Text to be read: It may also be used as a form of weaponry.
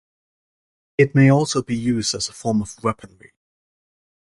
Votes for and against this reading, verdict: 2, 0, accepted